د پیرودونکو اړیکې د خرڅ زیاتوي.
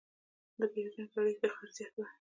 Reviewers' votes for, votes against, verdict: 2, 0, accepted